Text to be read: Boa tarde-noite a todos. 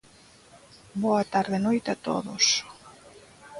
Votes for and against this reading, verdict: 0, 2, rejected